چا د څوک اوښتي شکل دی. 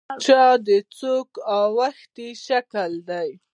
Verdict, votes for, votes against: accepted, 2, 0